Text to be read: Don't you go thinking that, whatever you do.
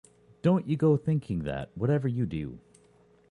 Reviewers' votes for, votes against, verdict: 2, 0, accepted